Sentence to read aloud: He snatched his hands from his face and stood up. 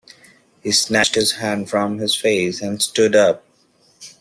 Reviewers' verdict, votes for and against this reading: rejected, 0, 2